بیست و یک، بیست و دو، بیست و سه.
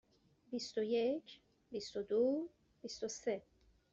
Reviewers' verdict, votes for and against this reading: accepted, 2, 0